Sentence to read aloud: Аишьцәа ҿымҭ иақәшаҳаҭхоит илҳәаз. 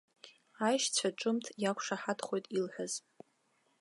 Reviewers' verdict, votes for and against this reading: accepted, 2, 0